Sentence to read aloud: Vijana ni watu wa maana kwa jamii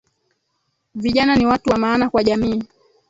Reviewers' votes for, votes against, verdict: 1, 2, rejected